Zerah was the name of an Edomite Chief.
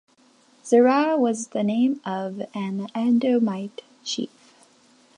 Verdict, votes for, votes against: rejected, 0, 2